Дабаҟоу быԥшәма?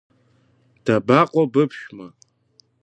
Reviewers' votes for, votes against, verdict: 3, 1, accepted